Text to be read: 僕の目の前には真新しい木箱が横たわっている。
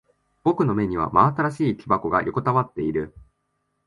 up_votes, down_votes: 1, 2